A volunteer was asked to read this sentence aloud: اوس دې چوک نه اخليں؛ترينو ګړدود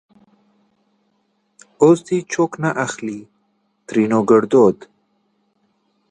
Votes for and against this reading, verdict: 2, 0, accepted